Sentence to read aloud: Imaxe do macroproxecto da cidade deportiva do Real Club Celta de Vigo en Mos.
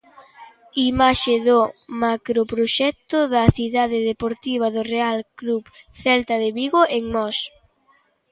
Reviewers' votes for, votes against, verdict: 2, 0, accepted